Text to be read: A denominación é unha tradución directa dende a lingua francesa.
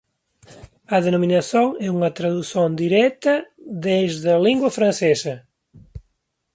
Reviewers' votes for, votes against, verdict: 0, 2, rejected